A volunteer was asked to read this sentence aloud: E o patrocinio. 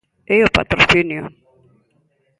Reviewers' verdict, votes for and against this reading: accepted, 2, 0